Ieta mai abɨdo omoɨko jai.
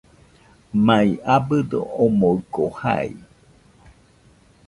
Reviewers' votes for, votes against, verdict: 1, 2, rejected